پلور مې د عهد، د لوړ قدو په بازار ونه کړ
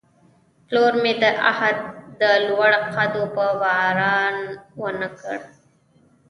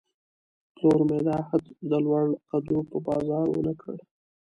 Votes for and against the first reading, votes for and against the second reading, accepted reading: 1, 2, 2, 1, second